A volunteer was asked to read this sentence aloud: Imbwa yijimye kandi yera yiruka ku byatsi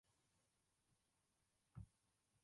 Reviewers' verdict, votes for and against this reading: rejected, 0, 2